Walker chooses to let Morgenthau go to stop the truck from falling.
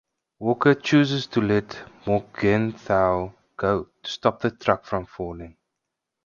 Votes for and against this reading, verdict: 2, 4, rejected